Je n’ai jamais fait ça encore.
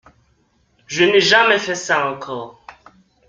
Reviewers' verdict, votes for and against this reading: accepted, 2, 0